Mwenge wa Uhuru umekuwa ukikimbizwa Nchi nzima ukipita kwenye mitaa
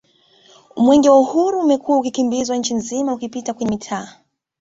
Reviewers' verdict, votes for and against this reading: accepted, 2, 1